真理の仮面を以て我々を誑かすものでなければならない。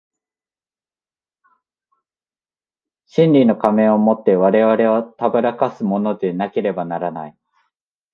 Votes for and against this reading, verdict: 2, 0, accepted